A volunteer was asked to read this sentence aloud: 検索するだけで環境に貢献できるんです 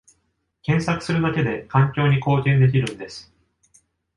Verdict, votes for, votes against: accepted, 2, 0